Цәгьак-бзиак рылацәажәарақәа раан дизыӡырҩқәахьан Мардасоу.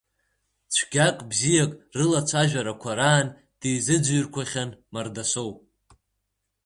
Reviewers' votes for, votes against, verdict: 2, 0, accepted